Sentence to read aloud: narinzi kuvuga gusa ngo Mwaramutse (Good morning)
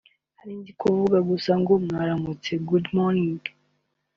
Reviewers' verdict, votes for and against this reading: accepted, 2, 0